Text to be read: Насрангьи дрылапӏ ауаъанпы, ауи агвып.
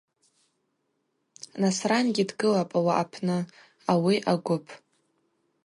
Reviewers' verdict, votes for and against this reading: rejected, 2, 2